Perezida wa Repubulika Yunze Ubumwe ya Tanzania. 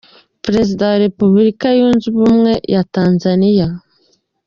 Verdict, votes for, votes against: accepted, 2, 0